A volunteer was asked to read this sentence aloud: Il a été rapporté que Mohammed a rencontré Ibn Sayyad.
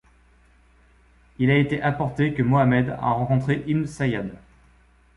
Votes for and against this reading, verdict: 1, 2, rejected